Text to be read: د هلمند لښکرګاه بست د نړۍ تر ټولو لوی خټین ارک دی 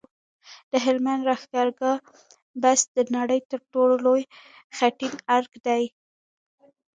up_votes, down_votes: 1, 2